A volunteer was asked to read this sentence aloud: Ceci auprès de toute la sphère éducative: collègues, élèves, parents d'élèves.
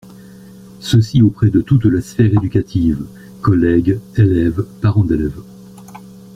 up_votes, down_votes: 0, 2